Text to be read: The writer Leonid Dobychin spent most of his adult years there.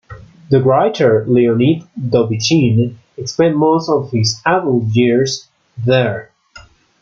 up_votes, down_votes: 2, 0